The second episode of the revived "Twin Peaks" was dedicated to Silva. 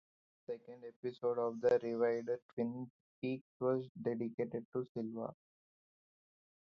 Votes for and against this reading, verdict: 2, 2, rejected